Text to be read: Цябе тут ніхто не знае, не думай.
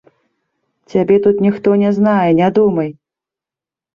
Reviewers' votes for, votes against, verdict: 0, 2, rejected